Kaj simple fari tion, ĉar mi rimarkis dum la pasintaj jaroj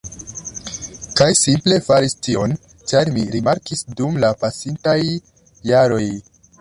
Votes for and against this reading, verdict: 0, 2, rejected